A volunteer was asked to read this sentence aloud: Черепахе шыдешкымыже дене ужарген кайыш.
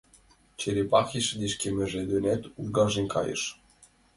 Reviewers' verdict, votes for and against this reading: rejected, 1, 2